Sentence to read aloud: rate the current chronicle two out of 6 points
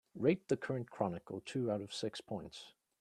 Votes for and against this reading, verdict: 0, 2, rejected